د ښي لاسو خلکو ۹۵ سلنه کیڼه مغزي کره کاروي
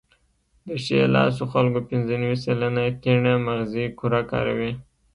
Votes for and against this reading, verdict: 0, 2, rejected